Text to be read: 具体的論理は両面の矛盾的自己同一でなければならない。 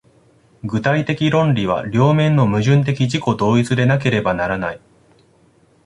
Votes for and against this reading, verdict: 1, 2, rejected